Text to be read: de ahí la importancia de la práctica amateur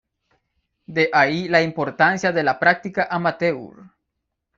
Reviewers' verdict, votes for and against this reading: accepted, 2, 0